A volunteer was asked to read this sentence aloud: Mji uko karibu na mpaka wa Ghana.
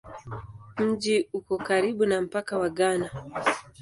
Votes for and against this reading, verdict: 2, 0, accepted